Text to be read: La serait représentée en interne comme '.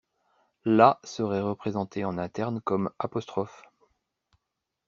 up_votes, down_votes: 1, 2